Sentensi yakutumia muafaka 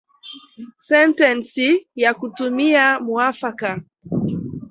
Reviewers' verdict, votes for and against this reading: rejected, 0, 2